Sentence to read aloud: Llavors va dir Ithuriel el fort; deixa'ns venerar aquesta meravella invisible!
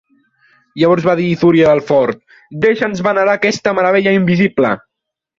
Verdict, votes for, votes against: accepted, 2, 0